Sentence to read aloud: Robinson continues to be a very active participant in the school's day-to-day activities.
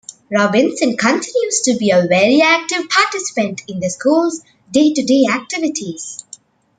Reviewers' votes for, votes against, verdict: 1, 2, rejected